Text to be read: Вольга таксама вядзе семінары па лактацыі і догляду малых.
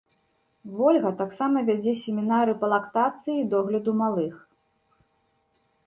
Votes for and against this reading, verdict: 2, 0, accepted